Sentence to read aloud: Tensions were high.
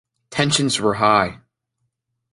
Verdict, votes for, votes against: accepted, 2, 0